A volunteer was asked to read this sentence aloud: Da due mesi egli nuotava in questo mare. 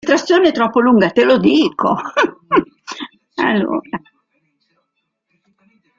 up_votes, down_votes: 0, 2